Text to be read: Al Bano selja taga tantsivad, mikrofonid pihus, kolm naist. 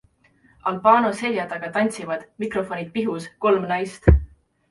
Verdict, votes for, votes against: accepted, 2, 0